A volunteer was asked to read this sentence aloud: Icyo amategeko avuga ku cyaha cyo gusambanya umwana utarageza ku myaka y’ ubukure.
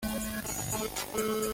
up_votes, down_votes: 0, 2